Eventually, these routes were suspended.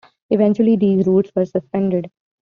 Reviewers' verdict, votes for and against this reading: accepted, 2, 1